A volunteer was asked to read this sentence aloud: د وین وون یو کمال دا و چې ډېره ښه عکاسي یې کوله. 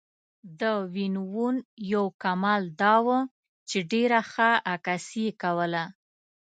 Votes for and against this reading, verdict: 0, 2, rejected